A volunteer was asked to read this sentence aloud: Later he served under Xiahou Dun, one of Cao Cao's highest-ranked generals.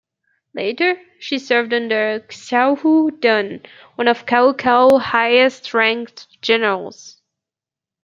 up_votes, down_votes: 0, 2